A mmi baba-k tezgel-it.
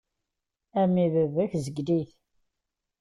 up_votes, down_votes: 2, 0